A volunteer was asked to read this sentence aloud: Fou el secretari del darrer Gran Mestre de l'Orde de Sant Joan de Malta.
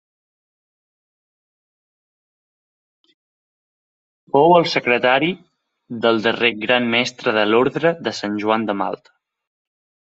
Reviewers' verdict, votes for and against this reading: rejected, 0, 2